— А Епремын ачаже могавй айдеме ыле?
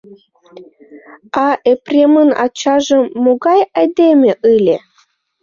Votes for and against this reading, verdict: 1, 2, rejected